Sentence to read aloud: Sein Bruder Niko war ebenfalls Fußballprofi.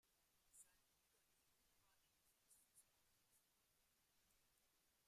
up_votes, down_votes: 0, 2